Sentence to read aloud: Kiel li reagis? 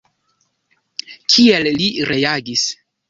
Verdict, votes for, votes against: rejected, 1, 2